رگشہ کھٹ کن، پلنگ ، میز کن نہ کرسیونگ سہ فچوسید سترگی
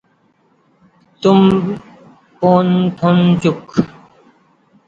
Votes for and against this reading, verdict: 1, 2, rejected